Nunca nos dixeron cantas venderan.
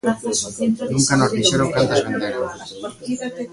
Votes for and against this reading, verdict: 0, 2, rejected